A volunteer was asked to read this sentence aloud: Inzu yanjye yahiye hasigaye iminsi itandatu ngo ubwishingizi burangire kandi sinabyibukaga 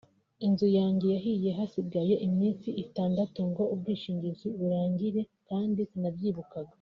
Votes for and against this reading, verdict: 2, 0, accepted